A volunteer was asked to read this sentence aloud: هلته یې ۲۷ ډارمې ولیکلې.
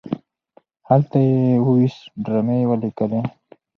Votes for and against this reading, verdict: 0, 2, rejected